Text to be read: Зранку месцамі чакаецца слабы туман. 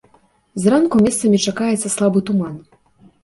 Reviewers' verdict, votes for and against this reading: accepted, 3, 0